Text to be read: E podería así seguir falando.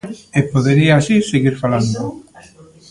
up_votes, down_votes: 1, 2